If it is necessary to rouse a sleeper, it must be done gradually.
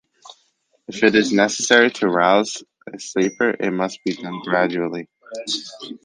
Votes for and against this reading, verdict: 0, 2, rejected